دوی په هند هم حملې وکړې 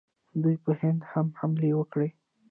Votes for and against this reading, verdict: 0, 2, rejected